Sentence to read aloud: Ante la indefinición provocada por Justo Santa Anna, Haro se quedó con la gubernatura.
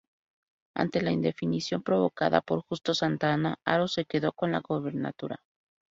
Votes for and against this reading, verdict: 0, 2, rejected